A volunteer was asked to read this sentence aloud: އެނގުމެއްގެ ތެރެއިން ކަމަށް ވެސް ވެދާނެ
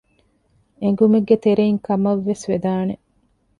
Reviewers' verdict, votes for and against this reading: accepted, 2, 0